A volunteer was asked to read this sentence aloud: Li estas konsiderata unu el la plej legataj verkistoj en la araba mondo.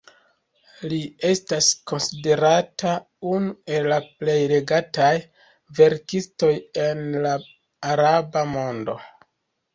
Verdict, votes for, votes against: rejected, 1, 2